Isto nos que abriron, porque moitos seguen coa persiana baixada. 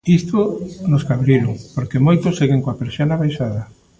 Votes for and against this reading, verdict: 1, 2, rejected